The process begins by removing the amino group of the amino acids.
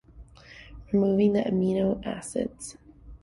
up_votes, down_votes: 0, 2